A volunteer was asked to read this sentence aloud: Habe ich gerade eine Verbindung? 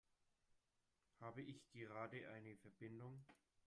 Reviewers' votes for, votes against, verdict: 2, 0, accepted